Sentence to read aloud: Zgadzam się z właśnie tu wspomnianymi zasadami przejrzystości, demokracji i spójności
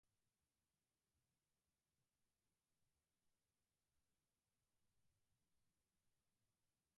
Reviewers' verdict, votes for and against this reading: rejected, 0, 4